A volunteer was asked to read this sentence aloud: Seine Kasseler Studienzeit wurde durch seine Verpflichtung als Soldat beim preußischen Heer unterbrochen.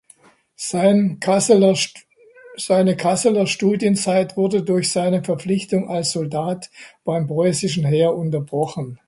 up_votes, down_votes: 0, 2